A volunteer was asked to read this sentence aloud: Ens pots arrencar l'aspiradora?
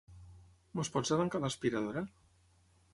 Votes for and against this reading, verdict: 0, 3, rejected